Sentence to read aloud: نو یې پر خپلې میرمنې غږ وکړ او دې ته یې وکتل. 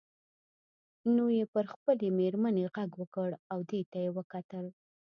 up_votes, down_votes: 2, 0